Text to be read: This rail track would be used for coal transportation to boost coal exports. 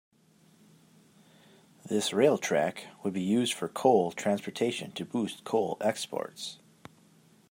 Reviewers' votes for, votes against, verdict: 8, 1, accepted